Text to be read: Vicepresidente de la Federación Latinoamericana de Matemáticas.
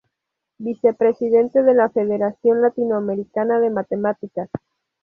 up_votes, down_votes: 2, 0